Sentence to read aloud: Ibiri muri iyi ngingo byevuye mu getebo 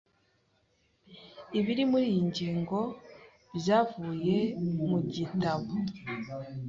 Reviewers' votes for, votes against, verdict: 1, 2, rejected